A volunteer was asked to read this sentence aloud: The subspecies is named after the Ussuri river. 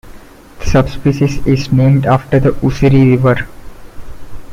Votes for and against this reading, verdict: 0, 2, rejected